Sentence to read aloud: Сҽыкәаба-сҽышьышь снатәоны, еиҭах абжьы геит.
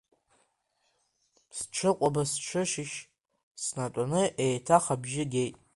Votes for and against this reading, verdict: 2, 0, accepted